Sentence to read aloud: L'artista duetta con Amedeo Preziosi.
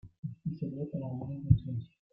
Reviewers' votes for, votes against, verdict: 0, 2, rejected